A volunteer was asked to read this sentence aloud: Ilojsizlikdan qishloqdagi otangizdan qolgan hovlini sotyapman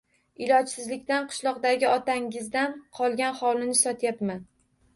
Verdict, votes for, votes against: rejected, 1, 2